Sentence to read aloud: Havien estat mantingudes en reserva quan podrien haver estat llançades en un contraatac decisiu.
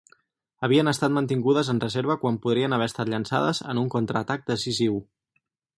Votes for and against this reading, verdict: 4, 0, accepted